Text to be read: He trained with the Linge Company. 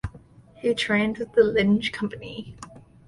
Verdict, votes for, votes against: accepted, 2, 0